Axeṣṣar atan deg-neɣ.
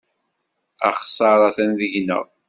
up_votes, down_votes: 2, 0